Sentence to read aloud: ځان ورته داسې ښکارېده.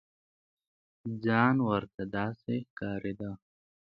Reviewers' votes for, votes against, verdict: 3, 0, accepted